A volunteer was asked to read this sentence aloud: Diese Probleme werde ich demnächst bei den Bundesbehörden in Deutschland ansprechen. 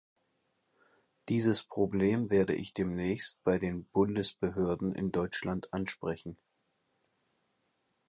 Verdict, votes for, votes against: rejected, 3, 6